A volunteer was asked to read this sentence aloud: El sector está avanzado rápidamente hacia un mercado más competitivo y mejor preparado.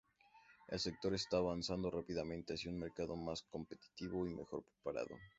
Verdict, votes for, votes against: accepted, 2, 0